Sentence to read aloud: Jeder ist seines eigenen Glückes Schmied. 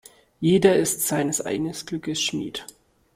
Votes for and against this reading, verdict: 1, 2, rejected